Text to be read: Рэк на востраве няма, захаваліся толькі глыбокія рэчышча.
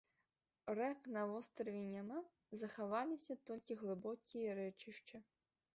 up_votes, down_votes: 3, 1